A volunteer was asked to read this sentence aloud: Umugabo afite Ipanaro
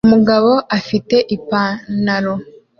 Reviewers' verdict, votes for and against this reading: accepted, 2, 0